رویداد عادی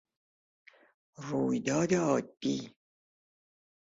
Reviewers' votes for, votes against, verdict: 2, 0, accepted